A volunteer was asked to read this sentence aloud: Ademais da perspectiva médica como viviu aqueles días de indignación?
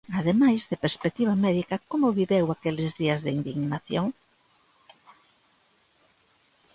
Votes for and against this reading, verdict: 0, 2, rejected